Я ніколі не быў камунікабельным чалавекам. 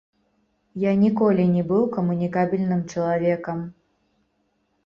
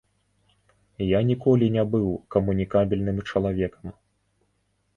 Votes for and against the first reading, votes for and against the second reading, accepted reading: 0, 2, 2, 0, second